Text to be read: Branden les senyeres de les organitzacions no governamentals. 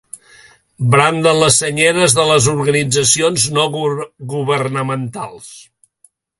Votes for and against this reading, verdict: 0, 2, rejected